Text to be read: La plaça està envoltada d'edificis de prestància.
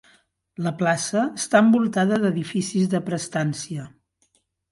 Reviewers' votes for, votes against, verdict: 2, 0, accepted